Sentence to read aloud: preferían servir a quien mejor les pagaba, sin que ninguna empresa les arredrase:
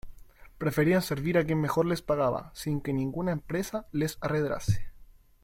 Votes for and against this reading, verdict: 2, 0, accepted